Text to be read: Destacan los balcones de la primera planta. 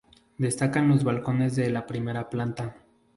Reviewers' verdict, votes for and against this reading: accepted, 2, 0